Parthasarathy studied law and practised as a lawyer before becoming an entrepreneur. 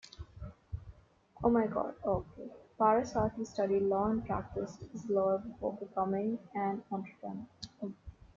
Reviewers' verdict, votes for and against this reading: rejected, 0, 2